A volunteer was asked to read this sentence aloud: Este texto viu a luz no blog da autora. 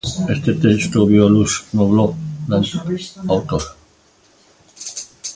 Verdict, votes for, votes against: rejected, 1, 2